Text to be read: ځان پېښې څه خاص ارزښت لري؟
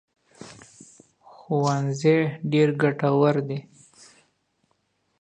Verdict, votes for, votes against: rejected, 0, 2